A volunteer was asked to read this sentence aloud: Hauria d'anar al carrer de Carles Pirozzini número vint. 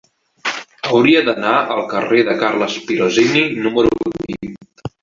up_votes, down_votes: 2, 1